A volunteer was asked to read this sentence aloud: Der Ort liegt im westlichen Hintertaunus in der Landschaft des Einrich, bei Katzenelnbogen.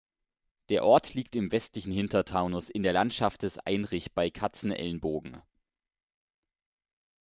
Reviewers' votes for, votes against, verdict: 2, 0, accepted